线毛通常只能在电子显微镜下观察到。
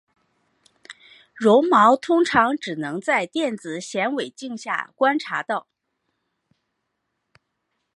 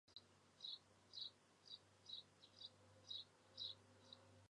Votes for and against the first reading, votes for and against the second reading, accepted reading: 2, 1, 0, 2, first